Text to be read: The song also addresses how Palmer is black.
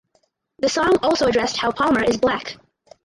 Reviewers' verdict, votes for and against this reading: rejected, 0, 2